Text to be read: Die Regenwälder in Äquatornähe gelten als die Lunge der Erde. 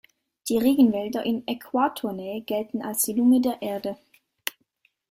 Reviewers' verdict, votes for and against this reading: accepted, 2, 0